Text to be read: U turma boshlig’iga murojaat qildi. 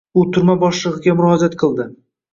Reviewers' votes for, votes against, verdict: 2, 0, accepted